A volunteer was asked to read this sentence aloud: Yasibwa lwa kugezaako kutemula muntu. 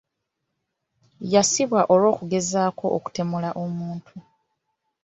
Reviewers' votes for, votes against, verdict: 3, 0, accepted